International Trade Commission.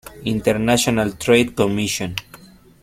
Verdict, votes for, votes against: accepted, 2, 0